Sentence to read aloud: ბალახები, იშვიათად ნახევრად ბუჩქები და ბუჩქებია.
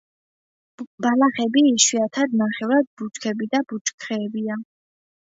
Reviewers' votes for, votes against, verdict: 2, 1, accepted